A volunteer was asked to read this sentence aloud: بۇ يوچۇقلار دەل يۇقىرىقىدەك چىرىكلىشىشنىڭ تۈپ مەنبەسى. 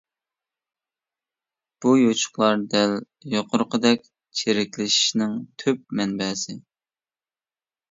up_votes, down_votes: 2, 0